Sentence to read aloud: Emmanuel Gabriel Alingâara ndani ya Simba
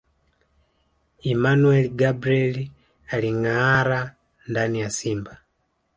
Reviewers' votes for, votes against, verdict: 1, 2, rejected